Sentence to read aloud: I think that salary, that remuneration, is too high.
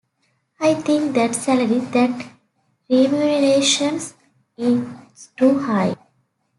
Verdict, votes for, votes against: rejected, 1, 2